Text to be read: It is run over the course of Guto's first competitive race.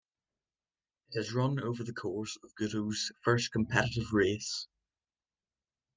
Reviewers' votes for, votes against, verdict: 2, 0, accepted